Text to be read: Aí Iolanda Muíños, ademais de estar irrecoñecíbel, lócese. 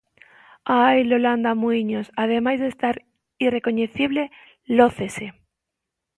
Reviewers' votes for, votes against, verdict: 0, 2, rejected